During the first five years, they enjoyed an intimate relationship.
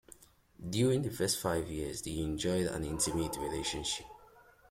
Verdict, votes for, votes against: accepted, 2, 0